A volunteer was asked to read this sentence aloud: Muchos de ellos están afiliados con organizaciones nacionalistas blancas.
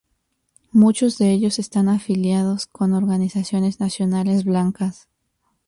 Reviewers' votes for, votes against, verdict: 1, 2, rejected